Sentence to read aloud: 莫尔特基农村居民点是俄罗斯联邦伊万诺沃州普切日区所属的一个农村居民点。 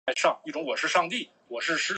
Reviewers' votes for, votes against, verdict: 0, 2, rejected